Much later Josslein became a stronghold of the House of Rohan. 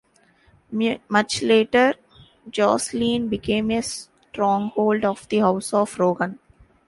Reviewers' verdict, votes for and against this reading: rejected, 0, 2